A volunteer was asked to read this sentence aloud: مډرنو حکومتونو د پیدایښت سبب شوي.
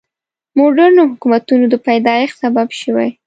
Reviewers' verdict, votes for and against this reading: rejected, 0, 2